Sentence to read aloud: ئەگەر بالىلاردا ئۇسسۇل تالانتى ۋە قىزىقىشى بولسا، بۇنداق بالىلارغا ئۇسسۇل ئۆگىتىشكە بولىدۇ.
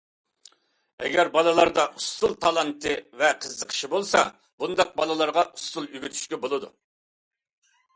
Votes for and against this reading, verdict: 2, 0, accepted